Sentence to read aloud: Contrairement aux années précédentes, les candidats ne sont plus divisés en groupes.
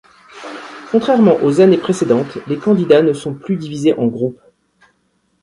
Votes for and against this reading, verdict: 2, 0, accepted